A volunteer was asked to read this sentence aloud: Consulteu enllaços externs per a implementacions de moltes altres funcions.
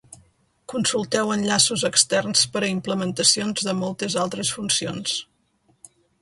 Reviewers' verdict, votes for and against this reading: accepted, 2, 0